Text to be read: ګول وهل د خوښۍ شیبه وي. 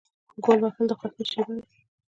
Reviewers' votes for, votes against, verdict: 1, 2, rejected